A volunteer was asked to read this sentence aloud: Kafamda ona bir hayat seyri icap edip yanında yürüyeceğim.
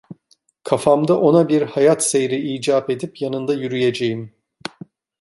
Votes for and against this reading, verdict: 2, 0, accepted